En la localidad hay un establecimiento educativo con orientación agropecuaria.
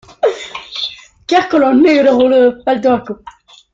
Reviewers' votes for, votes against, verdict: 0, 2, rejected